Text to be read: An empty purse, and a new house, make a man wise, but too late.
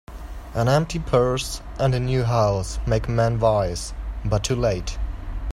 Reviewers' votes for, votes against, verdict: 2, 0, accepted